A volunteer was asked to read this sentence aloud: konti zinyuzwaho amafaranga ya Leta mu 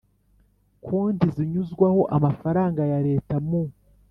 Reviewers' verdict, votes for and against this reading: accepted, 3, 0